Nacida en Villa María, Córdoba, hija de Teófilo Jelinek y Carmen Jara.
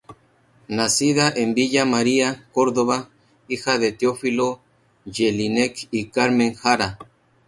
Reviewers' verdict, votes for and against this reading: accepted, 2, 0